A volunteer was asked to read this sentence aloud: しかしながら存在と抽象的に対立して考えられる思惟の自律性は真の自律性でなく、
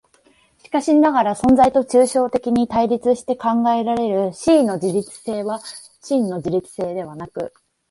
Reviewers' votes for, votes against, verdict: 2, 0, accepted